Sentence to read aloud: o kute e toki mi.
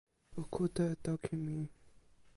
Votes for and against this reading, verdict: 1, 2, rejected